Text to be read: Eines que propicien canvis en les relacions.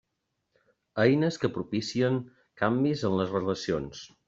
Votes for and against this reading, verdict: 3, 1, accepted